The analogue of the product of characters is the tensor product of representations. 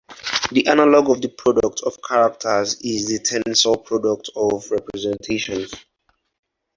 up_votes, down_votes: 4, 0